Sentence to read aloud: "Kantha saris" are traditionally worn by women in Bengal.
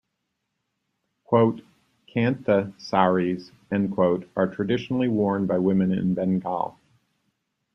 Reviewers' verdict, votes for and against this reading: rejected, 1, 2